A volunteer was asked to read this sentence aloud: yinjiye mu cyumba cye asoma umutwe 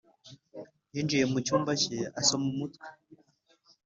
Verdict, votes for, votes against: accepted, 4, 0